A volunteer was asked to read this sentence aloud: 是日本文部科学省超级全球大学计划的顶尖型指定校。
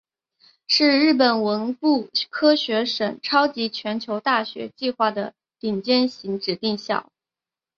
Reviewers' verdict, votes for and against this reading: accepted, 4, 1